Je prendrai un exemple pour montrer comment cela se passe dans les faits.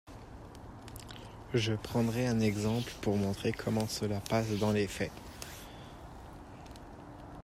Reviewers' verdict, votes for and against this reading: rejected, 0, 2